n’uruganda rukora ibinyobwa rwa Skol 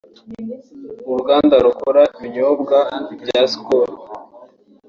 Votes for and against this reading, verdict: 1, 2, rejected